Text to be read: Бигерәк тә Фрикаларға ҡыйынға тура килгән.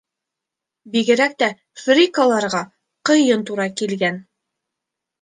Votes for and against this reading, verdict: 0, 2, rejected